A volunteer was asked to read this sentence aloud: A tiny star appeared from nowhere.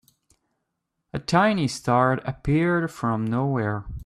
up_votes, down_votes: 3, 0